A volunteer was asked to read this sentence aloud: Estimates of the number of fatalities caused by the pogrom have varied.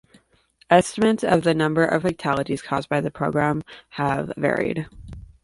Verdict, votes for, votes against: rejected, 1, 2